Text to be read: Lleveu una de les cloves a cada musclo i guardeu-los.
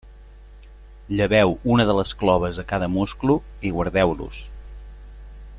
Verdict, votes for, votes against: accepted, 2, 0